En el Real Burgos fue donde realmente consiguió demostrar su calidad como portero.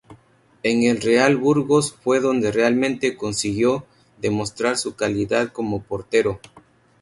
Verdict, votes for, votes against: rejected, 2, 2